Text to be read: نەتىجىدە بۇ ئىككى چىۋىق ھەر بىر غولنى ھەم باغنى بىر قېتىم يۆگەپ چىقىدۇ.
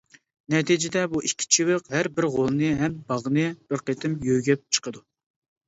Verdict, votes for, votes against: accepted, 2, 0